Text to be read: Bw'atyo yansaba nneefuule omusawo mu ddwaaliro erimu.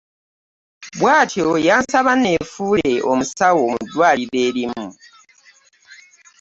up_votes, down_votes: 2, 0